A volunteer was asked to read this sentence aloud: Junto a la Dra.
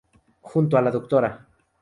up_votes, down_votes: 2, 0